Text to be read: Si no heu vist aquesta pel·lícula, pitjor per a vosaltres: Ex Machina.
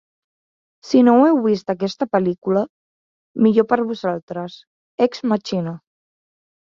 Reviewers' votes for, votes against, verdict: 0, 2, rejected